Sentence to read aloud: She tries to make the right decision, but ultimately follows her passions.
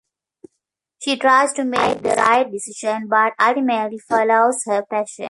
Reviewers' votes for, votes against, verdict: 1, 2, rejected